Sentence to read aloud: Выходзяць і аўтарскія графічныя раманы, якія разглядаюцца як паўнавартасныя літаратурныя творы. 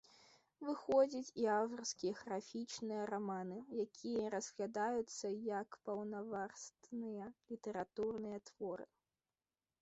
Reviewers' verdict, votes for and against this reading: rejected, 1, 2